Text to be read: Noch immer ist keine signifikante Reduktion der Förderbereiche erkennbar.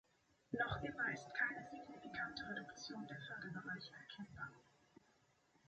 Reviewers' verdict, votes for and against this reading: accepted, 2, 0